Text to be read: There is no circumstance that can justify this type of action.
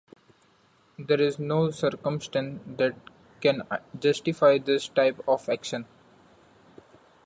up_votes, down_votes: 1, 2